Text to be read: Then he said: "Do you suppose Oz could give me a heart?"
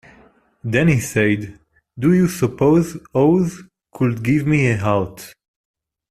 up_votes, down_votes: 1, 2